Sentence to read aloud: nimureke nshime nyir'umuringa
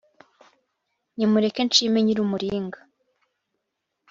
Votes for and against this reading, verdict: 2, 0, accepted